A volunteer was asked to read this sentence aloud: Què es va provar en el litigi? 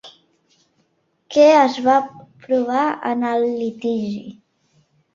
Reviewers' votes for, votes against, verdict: 3, 0, accepted